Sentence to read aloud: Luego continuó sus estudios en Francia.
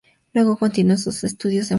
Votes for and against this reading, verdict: 0, 2, rejected